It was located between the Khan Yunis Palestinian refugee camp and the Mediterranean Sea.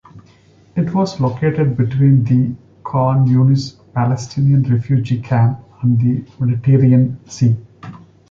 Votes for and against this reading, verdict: 2, 1, accepted